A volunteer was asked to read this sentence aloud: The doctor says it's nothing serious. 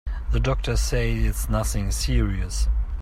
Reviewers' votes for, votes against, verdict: 1, 2, rejected